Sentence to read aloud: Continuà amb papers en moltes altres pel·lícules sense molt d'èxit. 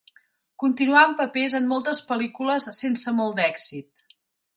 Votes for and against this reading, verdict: 1, 2, rejected